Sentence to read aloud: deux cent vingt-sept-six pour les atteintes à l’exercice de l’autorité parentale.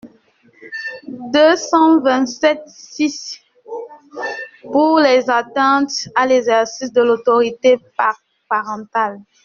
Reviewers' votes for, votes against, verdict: 0, 2, rejected